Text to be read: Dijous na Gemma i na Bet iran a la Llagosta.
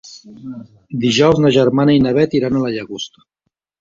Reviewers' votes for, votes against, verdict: 1, 4, rejected